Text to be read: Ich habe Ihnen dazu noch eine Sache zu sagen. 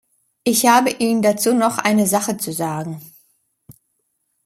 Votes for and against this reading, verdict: 2, 0, accepted